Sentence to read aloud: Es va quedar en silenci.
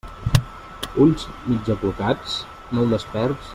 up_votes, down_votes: 0, 2